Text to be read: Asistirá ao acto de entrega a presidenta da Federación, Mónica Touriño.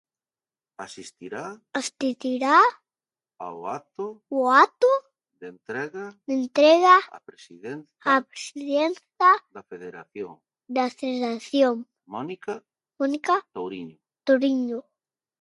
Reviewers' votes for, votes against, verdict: 0, 2, rejected